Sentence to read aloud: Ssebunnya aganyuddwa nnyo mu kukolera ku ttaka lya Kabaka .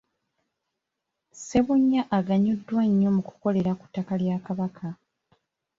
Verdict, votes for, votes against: accepted, 2, 1